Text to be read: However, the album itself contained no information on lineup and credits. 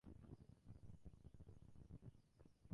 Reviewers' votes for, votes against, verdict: 0, 2, rejected